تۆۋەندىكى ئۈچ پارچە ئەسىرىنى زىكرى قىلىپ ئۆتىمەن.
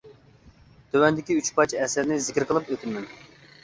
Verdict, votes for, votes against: rejected, 0, 2